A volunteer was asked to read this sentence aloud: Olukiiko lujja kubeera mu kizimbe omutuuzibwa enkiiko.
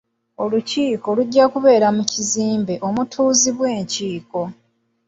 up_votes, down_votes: 2, 0